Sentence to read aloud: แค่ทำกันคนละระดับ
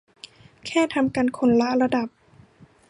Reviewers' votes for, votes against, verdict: 2, 0, accepted